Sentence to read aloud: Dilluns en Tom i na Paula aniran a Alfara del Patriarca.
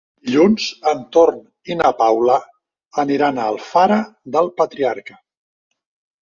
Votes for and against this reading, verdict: 1, 2, rejected